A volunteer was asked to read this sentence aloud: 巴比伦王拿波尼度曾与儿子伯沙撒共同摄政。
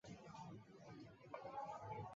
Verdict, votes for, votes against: accepted, 2, 0